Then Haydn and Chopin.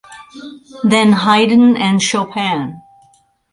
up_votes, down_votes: 4, 0